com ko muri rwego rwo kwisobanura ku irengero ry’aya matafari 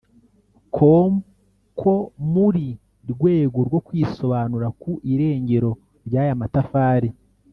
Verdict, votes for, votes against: rejected, 0, 2